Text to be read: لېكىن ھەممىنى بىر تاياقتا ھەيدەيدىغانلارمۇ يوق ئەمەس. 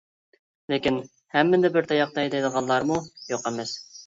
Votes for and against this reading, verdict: 2, 0, accepted